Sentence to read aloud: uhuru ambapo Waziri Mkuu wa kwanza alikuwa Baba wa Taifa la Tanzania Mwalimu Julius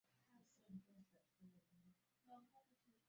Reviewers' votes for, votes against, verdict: 0, 2, rejected